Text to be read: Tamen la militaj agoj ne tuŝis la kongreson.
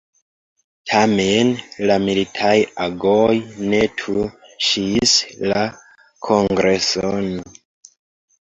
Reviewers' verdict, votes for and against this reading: rejected, 1, 2